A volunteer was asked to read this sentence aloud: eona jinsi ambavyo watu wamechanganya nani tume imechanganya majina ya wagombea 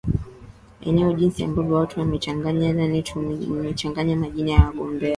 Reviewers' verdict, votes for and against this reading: accepted, 9, 1